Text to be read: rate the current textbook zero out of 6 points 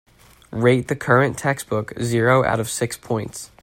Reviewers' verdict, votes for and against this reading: rejected, 0, 2